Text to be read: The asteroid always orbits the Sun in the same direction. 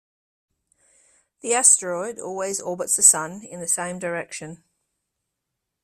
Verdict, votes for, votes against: accepted, 2, 0